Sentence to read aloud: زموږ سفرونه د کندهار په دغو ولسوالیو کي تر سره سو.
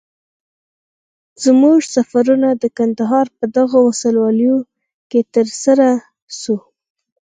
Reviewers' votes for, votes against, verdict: 6, 2, accepted